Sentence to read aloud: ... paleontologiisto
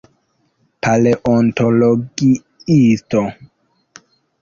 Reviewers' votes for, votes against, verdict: 2, 1, accepted